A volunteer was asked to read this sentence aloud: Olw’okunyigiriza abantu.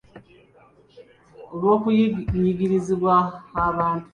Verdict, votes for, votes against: rejected, 0, 2